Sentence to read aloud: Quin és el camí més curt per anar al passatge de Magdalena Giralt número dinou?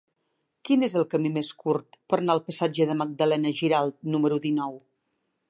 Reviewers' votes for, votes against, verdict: 0, 2, rejected